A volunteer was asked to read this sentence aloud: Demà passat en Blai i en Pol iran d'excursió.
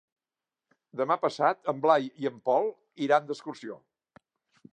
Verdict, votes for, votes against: accepted, 3, 0